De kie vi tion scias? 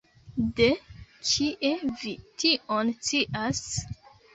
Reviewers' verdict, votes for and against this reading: rejected, 1, 3